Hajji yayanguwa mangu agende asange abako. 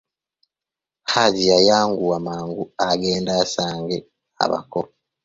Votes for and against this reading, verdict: 2, 0, accepted